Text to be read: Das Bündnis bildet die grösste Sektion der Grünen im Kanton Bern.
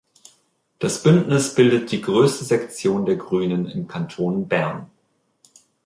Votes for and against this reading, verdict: 2, 0, accepted